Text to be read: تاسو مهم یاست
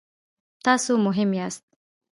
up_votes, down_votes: 1, 2